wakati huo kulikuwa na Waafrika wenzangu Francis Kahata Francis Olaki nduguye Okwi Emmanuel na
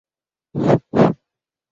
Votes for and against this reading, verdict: 0, 2, rejected